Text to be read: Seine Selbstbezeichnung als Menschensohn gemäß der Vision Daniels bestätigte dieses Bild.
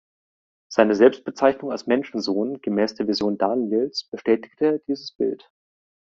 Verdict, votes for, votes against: accepted, 2, 0